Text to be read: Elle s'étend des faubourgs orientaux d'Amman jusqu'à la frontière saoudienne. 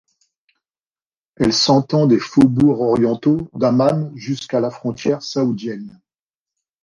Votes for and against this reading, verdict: 0, 2, rejected